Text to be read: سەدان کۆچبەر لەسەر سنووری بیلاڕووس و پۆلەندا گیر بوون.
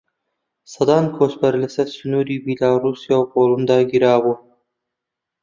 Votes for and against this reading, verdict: 1, 3, rejected